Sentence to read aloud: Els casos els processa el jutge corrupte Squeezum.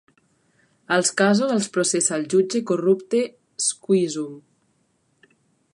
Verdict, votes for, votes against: accepted, 2, 0